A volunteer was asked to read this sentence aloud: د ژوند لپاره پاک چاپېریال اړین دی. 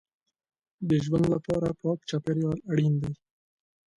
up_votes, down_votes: 2, 1